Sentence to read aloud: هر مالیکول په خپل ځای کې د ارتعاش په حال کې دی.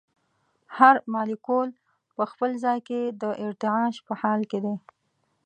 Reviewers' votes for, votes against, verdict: 2, 0, accepted